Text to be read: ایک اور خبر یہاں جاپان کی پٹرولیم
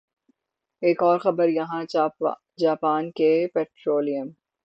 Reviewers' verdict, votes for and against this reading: rejected, 0, 6